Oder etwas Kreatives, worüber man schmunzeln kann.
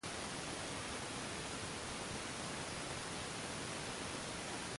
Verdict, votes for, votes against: rejected, 0, 2